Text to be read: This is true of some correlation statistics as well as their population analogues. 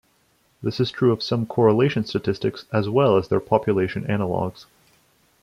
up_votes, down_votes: 2, 0